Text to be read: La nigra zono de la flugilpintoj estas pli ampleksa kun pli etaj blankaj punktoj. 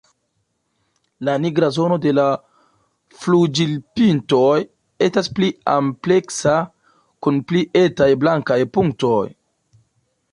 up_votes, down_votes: 0, 2